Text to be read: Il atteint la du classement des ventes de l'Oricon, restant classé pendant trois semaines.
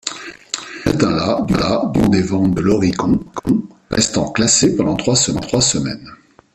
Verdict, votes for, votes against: rejected, 0, 2